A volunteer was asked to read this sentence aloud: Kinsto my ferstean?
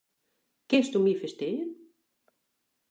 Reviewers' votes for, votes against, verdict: 2, 0, accepted